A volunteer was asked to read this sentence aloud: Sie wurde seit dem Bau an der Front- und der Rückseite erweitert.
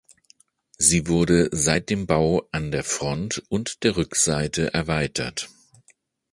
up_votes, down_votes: 2, 0